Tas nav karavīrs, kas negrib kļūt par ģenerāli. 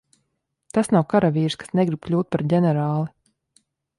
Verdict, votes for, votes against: accepted, 2, 0